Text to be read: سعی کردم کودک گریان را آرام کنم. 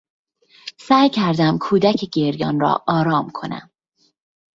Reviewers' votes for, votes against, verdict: 0, 2, rejected